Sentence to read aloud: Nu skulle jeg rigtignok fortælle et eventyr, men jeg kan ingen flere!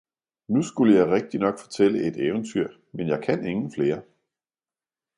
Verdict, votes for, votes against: accepted, 2, 0